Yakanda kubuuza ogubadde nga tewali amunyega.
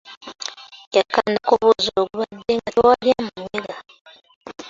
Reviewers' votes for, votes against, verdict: 0, 2, rejected